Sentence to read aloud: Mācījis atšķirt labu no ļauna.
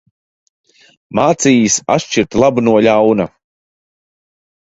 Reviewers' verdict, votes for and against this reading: accepted, 2, 0